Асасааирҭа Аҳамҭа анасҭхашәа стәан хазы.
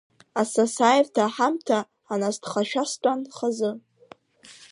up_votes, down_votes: 0, 3